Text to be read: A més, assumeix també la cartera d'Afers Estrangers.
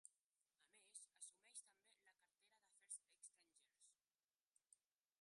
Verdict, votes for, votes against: rejected, 0, 2